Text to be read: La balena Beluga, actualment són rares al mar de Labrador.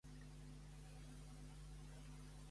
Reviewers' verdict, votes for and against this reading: rejected, 0, 2